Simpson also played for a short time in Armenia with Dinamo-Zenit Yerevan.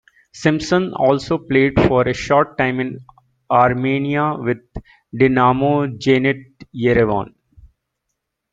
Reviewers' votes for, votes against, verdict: 0, 2, rejected